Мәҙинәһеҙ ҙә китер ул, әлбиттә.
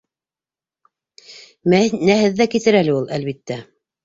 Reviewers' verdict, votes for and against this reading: rejected, 0, 2